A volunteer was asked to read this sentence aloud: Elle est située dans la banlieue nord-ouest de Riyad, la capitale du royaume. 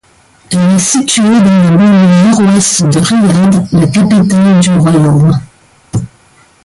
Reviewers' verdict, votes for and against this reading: rejected, 1, 2